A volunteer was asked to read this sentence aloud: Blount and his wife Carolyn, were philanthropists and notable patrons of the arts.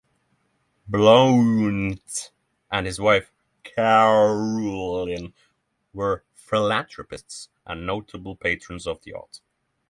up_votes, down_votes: 6, 0